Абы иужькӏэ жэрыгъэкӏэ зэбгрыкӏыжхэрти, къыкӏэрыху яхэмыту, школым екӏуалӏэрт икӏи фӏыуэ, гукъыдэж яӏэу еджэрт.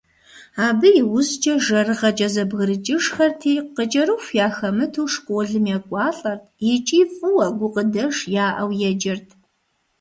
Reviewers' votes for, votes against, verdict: 2, 0, accepted